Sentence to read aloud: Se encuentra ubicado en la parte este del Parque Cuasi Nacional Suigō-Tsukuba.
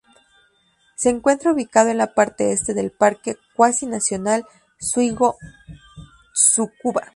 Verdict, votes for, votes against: rejected, 0, 2